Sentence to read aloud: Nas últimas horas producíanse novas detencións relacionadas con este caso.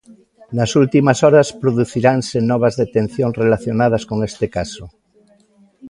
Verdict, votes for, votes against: rejected, 0, 2